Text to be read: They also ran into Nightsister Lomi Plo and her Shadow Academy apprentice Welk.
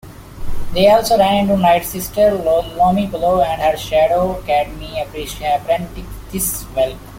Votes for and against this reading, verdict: 0, 2, rejected